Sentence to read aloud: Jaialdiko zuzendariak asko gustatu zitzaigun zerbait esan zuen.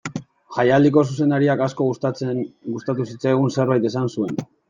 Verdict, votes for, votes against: rejected, 0, 2